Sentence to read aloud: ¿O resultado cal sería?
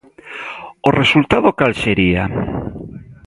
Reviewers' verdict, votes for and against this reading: accepted, 2, 0